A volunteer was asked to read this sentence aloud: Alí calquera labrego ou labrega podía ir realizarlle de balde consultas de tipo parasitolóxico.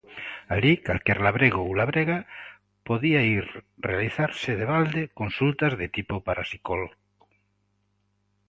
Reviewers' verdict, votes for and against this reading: rejected, 0, 3